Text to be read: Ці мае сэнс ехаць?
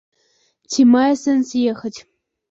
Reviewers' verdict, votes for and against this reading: accepted, 2, 0